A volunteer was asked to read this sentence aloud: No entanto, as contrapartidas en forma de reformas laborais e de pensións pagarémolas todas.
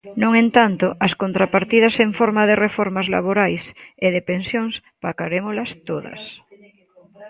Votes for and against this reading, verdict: 0, 2, rejected